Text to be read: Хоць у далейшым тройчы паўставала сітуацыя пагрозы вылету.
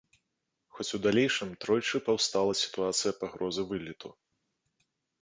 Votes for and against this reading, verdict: 0, 2, rejected